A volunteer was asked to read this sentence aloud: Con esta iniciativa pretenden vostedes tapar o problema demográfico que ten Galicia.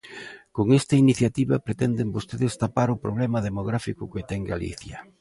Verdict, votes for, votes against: accepted, 2, 0